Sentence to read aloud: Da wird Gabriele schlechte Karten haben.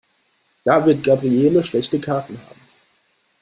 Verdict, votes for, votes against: accepted, 2, 1